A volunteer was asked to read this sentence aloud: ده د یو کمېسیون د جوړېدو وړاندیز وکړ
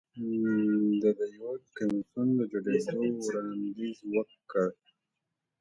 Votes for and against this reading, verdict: 2, 0, accepted